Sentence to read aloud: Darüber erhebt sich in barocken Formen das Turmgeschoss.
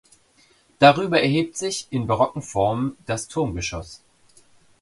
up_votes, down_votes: 2, 0